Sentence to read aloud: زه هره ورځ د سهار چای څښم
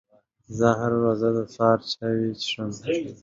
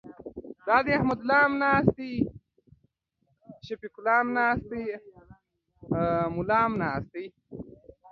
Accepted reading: first